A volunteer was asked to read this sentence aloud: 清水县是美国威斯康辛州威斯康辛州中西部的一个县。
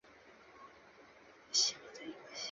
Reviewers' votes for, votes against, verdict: 0, 2, rejected